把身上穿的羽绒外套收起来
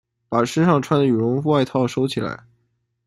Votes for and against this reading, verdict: 2, 0, accepted